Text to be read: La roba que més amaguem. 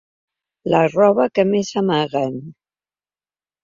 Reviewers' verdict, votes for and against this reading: rejected, 1, 2